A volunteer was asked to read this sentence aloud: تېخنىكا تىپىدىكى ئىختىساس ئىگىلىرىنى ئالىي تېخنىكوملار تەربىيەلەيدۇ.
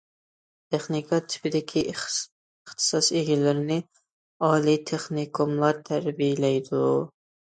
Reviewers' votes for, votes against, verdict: 0, 2, rejected